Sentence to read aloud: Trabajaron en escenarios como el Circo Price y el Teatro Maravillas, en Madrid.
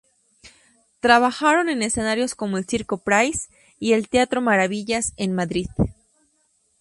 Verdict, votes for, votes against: accepted, 2, 0